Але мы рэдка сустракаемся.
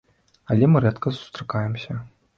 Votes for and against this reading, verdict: 2, 0, accepted